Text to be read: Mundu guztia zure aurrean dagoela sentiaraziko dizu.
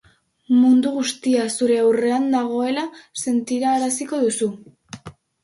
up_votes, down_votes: 2, 0